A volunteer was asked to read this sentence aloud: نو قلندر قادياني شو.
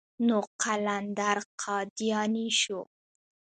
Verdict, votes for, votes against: rejected, 1, 2